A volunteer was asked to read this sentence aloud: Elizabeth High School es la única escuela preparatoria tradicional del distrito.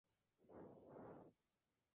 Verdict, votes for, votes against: rejected, 0, 2